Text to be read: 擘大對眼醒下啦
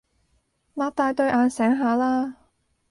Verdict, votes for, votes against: accepted, 2, 0